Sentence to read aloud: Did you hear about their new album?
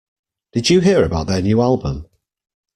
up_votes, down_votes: 2, 0